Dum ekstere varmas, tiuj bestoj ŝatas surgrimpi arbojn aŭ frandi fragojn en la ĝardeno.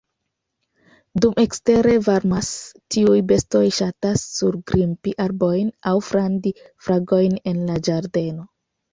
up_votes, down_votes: 2, 0